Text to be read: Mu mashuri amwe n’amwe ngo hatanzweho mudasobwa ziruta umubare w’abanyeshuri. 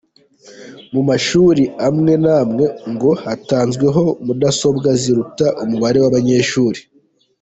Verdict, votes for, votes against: rejected, 0, 2